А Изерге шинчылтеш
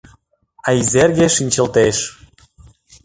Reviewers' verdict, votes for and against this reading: accepted, 2, 0